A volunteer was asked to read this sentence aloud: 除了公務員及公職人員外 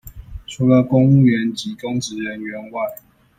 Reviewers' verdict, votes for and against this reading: accepted, 2, 0